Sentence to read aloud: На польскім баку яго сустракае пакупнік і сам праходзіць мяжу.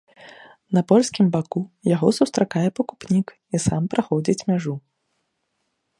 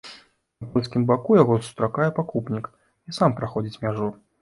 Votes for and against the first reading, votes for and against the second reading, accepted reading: 2, 0, 1, 2, first